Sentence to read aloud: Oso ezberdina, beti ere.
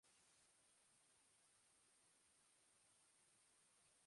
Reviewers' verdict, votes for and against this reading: rejected, 0, 3